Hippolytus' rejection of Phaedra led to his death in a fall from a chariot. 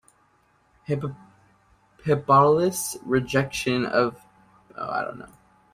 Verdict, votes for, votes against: rejected, 0, 2